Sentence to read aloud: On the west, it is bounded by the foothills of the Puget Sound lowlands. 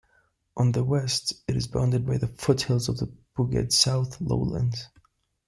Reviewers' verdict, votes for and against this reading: rejected, 1, 2